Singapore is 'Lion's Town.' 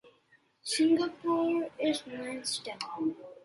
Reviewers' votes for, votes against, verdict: 0, 2, rejected